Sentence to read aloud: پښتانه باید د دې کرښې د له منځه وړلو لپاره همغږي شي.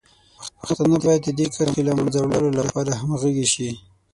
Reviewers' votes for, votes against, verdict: 3, 6, rejected